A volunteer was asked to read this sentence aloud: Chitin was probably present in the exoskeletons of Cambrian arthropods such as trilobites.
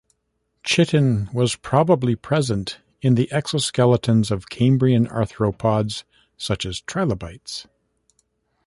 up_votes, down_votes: 1, 2